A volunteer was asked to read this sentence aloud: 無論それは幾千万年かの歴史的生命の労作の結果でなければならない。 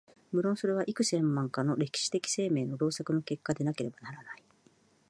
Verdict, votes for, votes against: accepted, 4, 1